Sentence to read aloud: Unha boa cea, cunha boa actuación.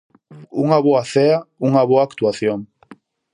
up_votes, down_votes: 0, 4